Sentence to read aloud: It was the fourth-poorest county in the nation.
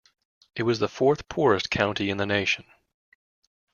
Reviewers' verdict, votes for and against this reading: accepted, 2, 0